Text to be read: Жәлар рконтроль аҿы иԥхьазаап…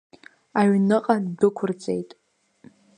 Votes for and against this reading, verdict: 0, 2, rejected